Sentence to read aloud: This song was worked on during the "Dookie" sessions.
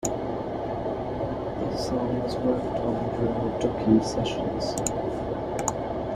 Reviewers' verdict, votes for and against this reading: rejected, 0, 2